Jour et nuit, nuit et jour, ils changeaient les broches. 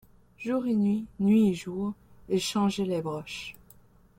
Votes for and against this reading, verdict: 2, 0, accepted